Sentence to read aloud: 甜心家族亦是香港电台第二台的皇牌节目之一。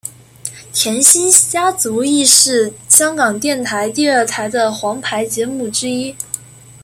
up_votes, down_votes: 1, 2